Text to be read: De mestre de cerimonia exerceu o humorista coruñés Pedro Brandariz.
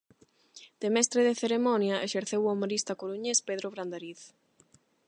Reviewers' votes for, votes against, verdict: 0, 8, rejected